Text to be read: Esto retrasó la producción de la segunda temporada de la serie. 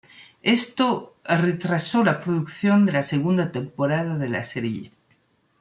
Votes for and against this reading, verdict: 1, 2, rejected